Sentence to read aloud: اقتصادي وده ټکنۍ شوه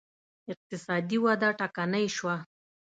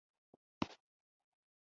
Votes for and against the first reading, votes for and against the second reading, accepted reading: 2, 0, 0, 2, first